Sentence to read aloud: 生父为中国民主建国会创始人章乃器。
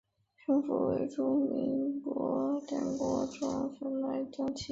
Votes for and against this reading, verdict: 2, 3, rejected